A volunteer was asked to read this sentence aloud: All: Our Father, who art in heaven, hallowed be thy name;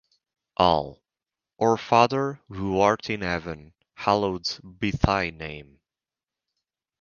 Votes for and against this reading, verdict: 2, 2, rejected